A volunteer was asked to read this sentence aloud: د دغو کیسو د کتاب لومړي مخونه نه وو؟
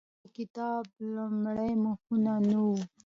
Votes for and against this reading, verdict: 2, 0, accepted